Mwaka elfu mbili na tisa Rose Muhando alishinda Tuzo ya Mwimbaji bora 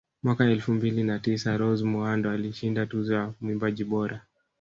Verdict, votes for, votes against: rejected, 1, 2